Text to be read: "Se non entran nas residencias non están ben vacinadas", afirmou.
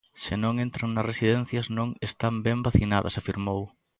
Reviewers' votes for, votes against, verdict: 2, 0, accepted